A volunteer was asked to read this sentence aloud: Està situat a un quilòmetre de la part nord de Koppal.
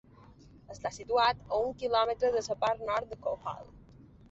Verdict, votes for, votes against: rejected, 0, 3